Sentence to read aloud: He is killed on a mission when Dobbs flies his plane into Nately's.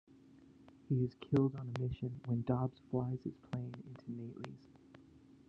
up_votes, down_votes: 1, 2